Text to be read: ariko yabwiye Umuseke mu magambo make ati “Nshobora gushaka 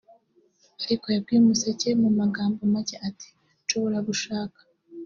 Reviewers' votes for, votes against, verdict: 1, 2, rejected